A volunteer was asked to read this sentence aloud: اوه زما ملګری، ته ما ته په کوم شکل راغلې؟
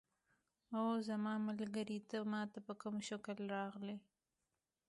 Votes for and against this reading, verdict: 2, 0, accepted